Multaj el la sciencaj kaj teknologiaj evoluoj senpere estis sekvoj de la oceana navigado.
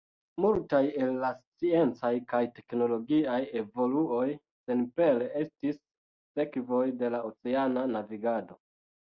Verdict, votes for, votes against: accepted, 2, 0